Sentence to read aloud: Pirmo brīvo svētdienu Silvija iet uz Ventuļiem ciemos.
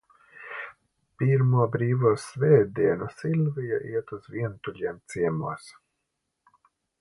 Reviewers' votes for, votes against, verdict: 0, 2, rejected